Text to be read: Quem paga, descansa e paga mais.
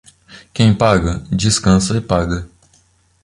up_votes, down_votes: 0, 2